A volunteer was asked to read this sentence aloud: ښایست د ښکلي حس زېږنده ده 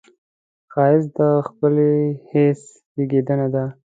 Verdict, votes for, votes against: accepted, 2, 0